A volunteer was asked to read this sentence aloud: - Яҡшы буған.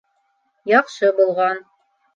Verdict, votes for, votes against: rejected, 0, 2